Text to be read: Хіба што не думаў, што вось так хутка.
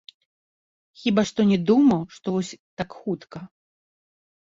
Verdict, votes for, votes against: rejected, 1, 2